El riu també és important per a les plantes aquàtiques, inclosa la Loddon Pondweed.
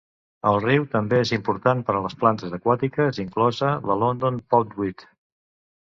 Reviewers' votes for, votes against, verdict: 0, 2, rejected